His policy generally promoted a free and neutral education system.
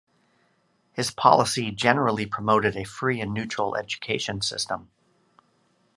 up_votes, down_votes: 3, 0